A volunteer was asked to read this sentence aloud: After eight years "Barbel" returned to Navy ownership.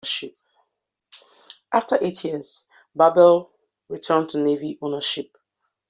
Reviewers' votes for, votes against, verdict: 1, 2, rejected